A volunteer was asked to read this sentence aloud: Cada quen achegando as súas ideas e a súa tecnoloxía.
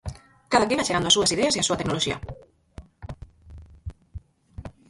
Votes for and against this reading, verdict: 0, 4, rejected